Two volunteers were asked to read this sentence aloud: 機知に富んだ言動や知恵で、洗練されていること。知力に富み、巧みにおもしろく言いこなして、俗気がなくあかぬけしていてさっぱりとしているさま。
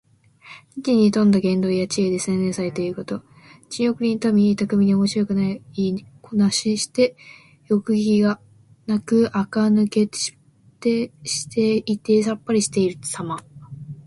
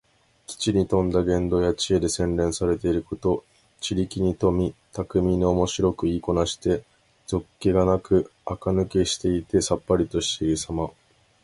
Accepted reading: second